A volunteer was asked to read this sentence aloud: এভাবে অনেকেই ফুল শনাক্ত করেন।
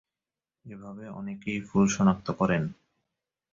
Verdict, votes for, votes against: accepted, 3, 2